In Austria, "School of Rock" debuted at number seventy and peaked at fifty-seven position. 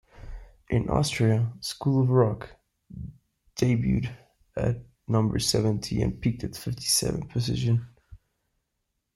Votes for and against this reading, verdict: 2, 1, accepted